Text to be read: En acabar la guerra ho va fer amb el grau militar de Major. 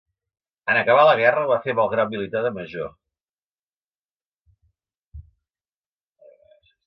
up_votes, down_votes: 2, 0